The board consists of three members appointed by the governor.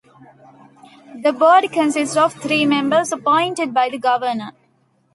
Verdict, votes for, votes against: rejected, 1, 2